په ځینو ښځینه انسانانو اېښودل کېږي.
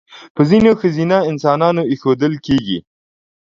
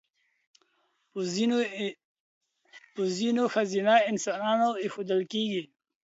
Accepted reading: first